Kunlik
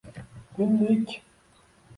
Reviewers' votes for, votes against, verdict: 0, 2, rejected